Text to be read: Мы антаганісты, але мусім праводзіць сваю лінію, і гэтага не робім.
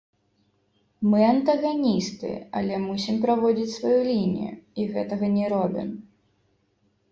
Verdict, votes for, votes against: rejected, 0, 2